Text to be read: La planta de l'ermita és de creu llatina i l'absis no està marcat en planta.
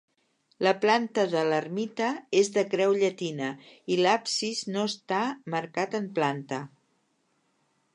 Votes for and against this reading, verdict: 3, 0, accepted